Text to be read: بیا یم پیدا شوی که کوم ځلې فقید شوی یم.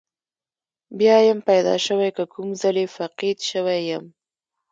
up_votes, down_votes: 0, 2